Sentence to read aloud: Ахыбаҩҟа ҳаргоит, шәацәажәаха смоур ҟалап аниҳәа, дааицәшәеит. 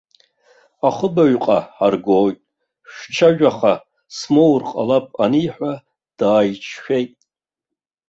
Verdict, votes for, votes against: rejected, 0, 2